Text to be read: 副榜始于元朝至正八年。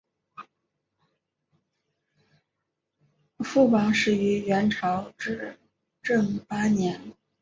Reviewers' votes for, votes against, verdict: 2, 1, accepted